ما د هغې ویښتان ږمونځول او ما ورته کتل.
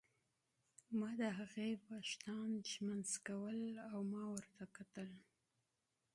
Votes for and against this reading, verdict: 1, 2, rejected